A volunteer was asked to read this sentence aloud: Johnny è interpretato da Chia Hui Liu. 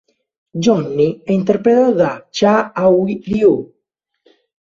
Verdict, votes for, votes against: rejected, 0, 2